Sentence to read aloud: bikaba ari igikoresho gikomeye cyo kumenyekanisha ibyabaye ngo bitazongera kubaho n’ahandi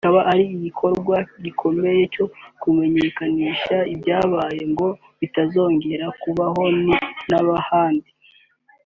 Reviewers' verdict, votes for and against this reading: accepted, 3, 0